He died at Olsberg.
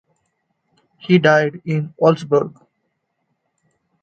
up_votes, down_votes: 1, 2